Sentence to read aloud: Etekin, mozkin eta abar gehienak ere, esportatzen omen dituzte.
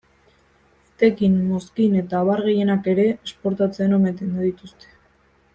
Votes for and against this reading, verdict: 0, 2, rejected